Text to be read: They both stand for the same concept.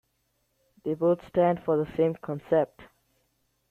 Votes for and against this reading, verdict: 2, 0, accepted